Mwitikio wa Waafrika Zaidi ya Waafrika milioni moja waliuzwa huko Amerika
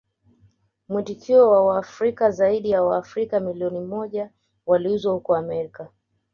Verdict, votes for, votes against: accepted, 2, 0